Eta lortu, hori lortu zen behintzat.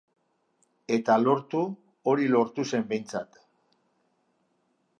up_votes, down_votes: 2, 0